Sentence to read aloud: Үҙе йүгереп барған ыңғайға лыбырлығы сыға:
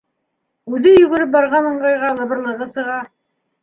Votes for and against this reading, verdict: 2, 0, accepted